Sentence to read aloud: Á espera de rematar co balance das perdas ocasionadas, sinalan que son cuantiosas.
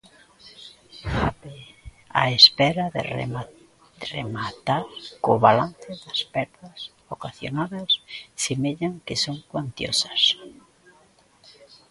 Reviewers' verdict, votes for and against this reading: rejected, 0, 2